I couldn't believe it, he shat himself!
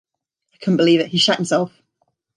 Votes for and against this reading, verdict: 2, 0, accepted